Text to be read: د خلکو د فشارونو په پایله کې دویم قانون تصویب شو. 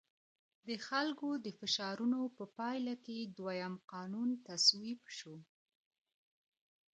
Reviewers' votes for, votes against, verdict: 2, 1, accepted